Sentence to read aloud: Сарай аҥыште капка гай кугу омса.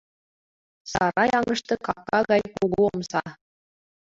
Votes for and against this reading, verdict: 1, 2, rejected